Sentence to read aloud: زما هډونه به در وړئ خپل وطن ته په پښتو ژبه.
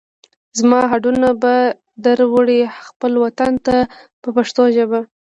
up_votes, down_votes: 2, 0